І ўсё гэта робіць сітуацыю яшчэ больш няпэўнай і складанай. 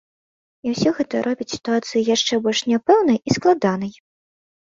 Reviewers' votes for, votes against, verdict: 2, 0, accepted